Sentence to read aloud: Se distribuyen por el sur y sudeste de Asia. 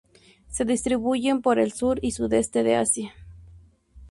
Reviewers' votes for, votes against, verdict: 2, 0, accepted